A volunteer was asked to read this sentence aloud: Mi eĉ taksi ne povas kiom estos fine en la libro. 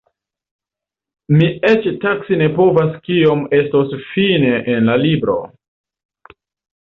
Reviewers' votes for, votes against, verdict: 2, 0, accepted